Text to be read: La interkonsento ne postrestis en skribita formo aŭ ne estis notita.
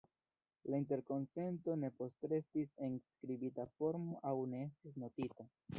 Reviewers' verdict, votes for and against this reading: accepted, 2, 0